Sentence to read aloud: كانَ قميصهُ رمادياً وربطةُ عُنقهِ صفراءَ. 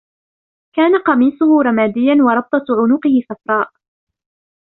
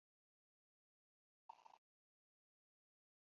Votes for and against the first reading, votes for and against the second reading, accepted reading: 2, 0, 0, 2, first